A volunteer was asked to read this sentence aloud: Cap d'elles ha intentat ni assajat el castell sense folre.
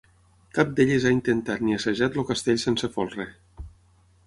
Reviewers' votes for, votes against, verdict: 3, 6, rejected